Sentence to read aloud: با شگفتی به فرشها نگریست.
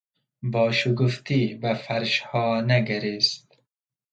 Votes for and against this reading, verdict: 0, 2, rejected